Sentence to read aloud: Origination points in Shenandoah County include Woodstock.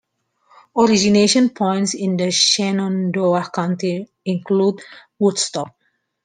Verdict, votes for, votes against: accepted, 2, 1